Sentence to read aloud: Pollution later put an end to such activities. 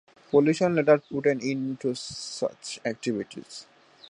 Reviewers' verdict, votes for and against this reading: accepted, 2, 1